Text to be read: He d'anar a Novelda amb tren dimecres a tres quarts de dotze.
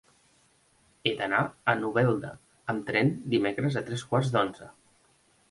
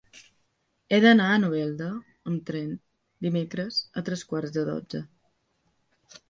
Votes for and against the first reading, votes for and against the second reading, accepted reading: 1, 2, 2, 1, second